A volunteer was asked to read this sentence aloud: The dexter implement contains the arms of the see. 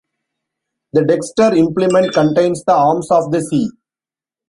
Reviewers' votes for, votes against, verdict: 1, 2, rejected